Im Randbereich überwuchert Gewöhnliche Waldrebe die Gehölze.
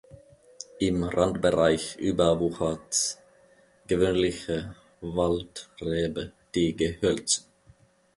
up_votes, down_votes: 3, 0